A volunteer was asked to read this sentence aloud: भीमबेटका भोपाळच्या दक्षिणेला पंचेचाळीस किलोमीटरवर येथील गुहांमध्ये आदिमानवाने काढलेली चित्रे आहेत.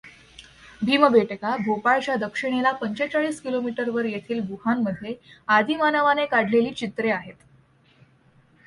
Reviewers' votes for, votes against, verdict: 2, 0, accepted